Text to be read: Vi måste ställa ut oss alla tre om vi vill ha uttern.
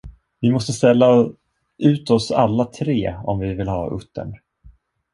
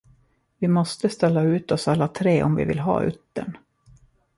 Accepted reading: second